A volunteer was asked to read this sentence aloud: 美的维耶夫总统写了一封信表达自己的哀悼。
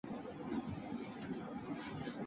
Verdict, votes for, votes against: rejected, 0, 4